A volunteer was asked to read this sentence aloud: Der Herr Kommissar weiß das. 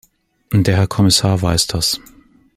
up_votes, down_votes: 2, 0